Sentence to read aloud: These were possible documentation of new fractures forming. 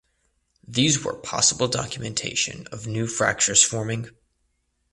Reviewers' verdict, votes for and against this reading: accepted, 2, 0